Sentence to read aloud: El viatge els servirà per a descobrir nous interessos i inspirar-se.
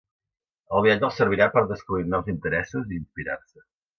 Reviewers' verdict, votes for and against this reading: accepted, 2, 0